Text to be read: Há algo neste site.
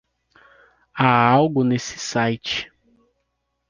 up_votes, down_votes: 1, 2